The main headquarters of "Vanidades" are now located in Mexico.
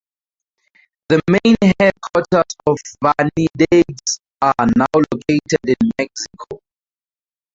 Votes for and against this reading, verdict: 2, 0, accepted